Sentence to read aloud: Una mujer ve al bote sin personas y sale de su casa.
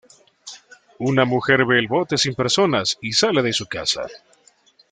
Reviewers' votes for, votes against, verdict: 1, 2, rejected